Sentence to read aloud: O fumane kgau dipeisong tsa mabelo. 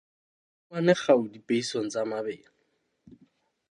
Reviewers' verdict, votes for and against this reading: rejected, 0, 2